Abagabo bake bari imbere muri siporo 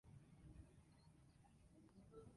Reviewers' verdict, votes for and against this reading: rejected, 0, 2